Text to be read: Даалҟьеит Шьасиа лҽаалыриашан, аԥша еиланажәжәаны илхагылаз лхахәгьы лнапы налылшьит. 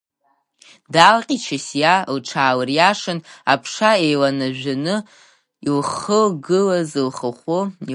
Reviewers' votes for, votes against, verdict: 1, 2, rejected